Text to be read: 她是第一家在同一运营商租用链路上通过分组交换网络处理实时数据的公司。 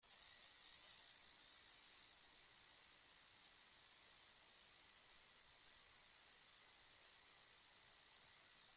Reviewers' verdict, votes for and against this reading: rejected, 0, 2